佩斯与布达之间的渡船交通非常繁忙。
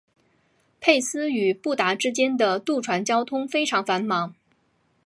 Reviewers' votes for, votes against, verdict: 2, 0, accepted